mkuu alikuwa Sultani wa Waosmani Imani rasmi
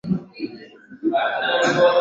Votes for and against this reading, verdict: 1, 3, rejected